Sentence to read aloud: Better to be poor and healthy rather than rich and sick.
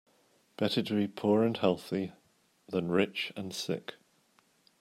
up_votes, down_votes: 0, 2